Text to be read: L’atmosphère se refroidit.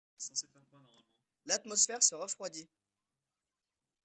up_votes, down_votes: 0, 2